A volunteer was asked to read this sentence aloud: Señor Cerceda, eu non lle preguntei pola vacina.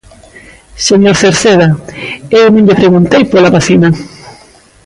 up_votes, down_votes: 0, 2